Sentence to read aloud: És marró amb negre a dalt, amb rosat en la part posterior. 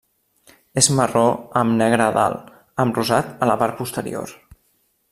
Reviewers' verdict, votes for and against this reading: accepted, 2, 0